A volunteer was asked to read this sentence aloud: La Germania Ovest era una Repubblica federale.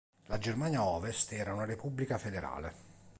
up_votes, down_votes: 2, 0